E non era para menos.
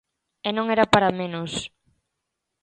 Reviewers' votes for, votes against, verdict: 2, 0, accepted